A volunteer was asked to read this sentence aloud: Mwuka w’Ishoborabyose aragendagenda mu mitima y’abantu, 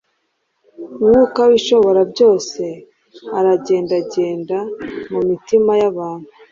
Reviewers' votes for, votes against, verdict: 2, 0, accepted